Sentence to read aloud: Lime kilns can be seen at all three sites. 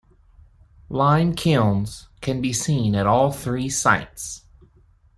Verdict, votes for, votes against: accepted, 2, 0